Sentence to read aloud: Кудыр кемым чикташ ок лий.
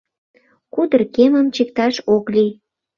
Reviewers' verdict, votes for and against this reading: accepted, 2, 0